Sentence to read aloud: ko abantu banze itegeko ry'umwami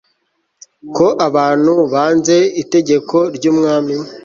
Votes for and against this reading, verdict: 2, 0, accepted